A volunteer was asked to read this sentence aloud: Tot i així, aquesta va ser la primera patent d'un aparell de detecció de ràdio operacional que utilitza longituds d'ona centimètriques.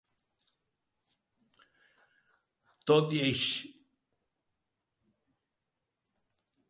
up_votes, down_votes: 0, 2